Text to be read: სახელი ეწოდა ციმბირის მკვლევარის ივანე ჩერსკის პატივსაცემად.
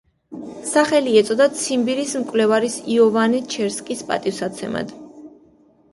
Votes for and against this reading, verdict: 0, 2, rejected